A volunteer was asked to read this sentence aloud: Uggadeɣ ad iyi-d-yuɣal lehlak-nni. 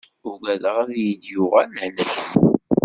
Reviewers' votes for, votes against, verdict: 1, 2, rejected